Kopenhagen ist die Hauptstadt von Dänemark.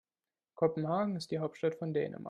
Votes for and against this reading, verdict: 1, 2, rejected